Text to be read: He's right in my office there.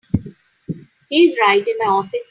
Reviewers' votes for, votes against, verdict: 0, 2, rejected